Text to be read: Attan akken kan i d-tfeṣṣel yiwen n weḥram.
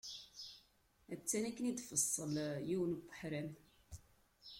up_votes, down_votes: 0, 2